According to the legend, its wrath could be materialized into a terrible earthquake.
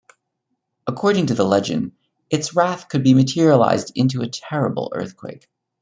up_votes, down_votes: 2, 1